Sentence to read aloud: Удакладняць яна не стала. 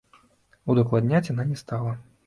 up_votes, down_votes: 2, 0